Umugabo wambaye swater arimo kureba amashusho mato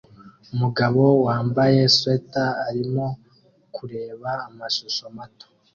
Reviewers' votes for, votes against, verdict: 2, 0, accepted